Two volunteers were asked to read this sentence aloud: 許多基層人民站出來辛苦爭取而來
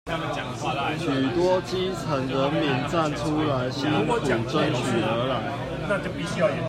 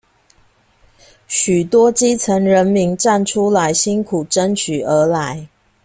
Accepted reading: second